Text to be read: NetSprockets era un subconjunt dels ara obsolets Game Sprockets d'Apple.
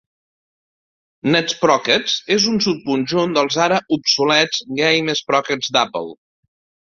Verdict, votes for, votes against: rejected, 0, 2